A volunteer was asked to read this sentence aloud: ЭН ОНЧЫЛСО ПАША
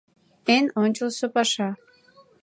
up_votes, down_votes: 2, 0